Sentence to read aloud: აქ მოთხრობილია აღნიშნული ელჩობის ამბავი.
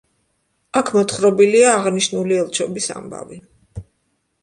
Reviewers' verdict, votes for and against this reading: accepted, 2, 0